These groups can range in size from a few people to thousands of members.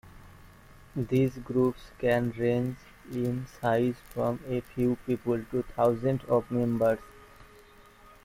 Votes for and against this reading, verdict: 1, 2, rejected